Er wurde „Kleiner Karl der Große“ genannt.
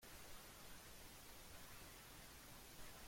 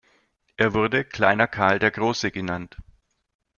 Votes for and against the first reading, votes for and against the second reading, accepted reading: 0, 3, 2, 0, second